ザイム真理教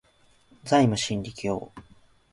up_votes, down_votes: 2, 0